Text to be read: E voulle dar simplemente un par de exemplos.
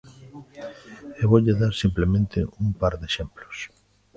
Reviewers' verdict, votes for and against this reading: accepted, 2, 1